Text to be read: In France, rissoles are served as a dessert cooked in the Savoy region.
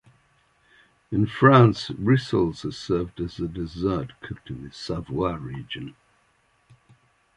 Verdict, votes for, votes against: accepted, 2, 0